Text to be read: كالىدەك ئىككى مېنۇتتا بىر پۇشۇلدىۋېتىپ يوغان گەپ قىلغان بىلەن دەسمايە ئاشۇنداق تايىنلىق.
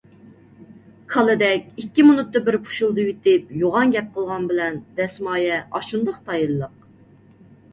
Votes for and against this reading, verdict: 2, 0, accepted